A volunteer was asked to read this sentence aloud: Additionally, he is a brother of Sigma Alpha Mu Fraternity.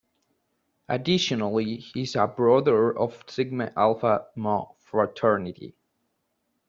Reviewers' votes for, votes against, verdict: 1, 2, rejected